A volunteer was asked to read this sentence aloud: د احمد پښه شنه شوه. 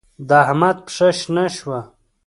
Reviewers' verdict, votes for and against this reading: accepted, 3, 0